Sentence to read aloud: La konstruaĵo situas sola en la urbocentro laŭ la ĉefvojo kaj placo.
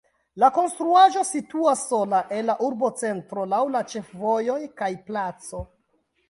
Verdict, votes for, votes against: rejected, 0, 3